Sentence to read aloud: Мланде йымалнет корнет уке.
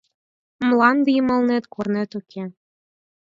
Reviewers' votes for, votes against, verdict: 4, 0, accepted